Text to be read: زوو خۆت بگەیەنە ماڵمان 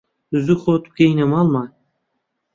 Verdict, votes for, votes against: accepted, 2, 0